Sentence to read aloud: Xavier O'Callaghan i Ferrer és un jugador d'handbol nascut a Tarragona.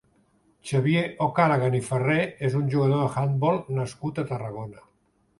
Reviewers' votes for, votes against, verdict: 3, 2, accepted